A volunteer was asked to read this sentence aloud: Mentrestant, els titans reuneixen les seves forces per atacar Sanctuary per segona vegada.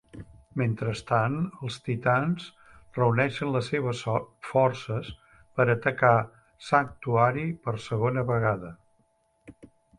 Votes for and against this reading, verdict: 0, 2, rejected